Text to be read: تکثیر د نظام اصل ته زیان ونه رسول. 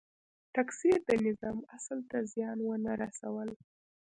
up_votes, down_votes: 2, 0